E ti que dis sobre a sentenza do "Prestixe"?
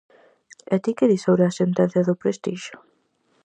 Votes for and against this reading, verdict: 4, 0, accepted